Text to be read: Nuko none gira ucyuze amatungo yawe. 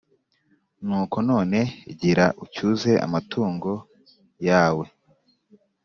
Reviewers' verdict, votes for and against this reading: accepted, 3, 0